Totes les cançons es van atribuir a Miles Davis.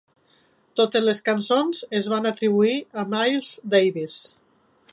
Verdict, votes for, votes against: accepted, 2, 0